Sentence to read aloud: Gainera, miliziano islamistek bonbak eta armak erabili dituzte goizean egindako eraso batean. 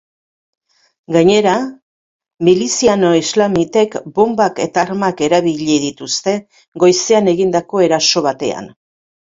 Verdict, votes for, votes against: rejected, 0, 3